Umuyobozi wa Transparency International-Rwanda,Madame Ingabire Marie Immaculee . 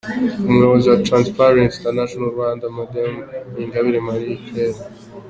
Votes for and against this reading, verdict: 2, 0, accepted